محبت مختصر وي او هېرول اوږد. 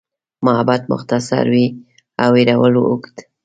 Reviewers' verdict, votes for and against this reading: accepted, 2, 0